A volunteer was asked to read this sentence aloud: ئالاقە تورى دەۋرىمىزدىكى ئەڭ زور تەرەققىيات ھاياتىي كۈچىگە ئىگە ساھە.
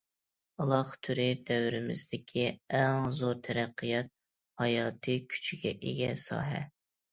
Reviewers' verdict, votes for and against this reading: accepted, 2, 0